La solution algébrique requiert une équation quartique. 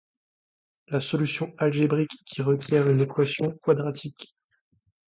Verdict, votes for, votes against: rejected, 0, 2